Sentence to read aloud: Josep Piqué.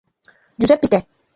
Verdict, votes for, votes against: rejected, 0, 2